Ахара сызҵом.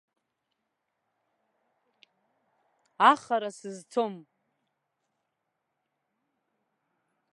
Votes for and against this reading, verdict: 0, 2, rejected